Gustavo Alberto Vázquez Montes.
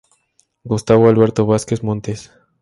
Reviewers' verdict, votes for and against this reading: accepted, 2, 0